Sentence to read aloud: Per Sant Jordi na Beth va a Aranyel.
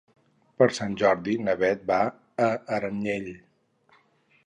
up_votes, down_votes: 2, 2